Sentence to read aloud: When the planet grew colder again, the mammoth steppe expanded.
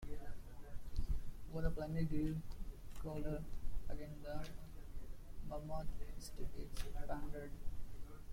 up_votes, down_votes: 0, 2